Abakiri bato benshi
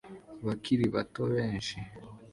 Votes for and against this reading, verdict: 2, 0, accepted